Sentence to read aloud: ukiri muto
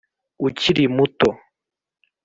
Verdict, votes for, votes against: accepted, 2, 0